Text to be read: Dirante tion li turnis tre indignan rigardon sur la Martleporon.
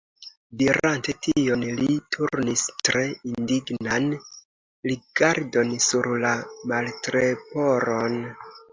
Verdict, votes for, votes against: rejected, 1, 2